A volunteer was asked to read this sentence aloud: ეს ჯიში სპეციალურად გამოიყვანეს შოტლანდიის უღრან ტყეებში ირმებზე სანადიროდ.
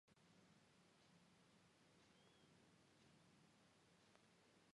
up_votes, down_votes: 1, 2